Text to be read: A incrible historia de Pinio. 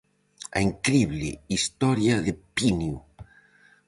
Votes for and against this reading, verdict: 4, 0, accepted